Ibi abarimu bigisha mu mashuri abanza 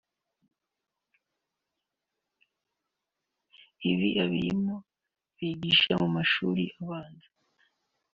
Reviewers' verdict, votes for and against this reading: rejected, 1, 2